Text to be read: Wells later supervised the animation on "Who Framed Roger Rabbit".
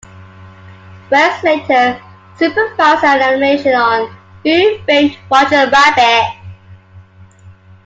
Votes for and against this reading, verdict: 1, 2, rejected